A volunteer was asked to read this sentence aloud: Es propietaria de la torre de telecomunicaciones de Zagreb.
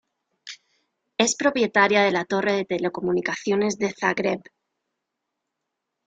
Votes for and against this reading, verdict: 2, 0, accepted